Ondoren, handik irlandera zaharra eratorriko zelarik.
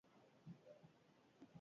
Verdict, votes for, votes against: rejected, 0, 4